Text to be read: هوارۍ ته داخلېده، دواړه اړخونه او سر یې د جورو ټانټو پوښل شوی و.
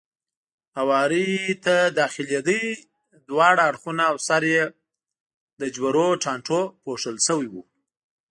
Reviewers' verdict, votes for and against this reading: rejected, 0, 2